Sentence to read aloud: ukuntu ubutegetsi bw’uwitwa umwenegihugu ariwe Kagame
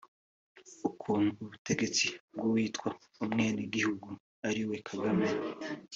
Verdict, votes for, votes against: accepted, 2, 0